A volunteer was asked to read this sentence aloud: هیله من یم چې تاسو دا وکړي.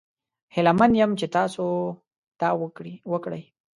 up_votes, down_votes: 0, 2